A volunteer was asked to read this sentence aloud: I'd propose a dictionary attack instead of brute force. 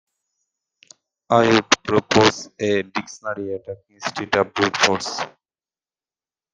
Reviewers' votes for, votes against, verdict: 2, 1, accepted